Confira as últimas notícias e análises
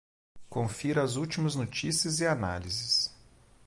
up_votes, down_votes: 2, 0